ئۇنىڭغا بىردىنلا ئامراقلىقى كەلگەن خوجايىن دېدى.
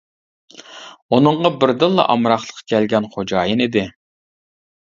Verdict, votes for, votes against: rejected, 1, 2